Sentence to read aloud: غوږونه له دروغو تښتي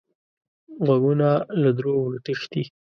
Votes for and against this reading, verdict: 2, 0, accepted